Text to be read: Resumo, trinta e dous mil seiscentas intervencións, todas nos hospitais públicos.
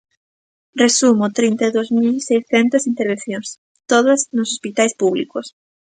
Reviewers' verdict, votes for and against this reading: rejected, 1, 2